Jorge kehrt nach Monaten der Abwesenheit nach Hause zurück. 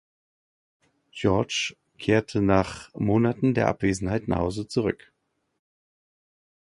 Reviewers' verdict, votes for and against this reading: rejected, 1, 2